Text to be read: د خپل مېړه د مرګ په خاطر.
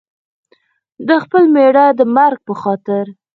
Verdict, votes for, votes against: rejected, 2, 4